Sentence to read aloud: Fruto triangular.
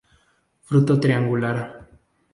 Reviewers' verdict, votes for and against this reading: accepted, 2, 0